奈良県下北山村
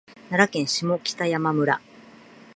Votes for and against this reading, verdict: 2, 0, accepted